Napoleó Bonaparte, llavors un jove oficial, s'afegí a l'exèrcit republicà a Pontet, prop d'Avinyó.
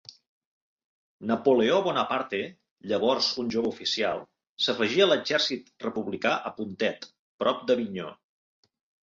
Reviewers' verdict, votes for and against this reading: accepted, 2, 0